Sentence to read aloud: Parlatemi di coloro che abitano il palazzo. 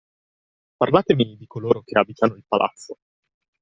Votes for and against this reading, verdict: 1, 2, rejected